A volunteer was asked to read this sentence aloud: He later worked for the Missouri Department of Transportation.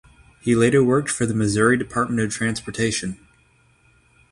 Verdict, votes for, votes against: rejected, 3, 3